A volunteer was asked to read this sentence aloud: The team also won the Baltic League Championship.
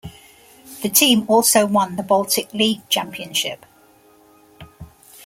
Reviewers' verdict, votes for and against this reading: accepted, 2, 0